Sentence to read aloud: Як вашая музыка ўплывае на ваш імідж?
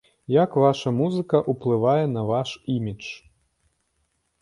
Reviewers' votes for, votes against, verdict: 1, 2, rejected